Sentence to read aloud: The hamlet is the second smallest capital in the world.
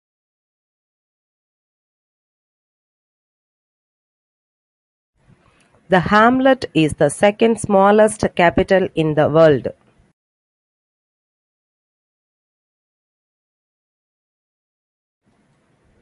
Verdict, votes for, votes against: rejected, 0, 2